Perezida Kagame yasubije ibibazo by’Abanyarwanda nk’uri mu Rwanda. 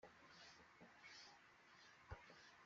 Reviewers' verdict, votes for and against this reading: rejected, 0, 2